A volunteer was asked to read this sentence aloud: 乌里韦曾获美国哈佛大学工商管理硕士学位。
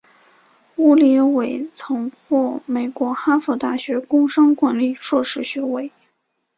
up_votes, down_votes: 2, 1